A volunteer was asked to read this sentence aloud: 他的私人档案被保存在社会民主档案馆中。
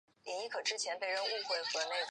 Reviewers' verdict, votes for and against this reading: rejected, 0, 2